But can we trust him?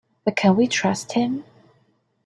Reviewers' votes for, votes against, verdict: 2, 0, accepted